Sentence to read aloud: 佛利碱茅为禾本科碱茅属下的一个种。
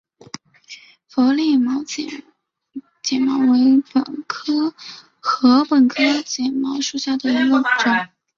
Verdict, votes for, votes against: rejected, 0, 2